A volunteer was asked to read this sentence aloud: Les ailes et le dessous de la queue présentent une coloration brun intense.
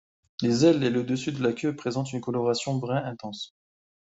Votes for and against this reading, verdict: 1, 2, rejected